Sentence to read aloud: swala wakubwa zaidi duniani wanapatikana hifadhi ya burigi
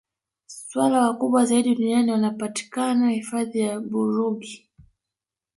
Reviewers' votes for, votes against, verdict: 0, 2, rejected